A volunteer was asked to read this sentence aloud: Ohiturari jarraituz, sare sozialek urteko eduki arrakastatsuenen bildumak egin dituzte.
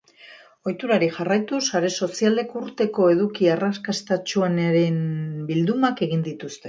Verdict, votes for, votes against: rejected, 2, 3